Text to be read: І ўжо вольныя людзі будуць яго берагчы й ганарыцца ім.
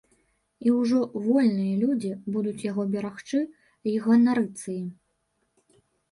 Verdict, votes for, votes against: rejected, 1, 2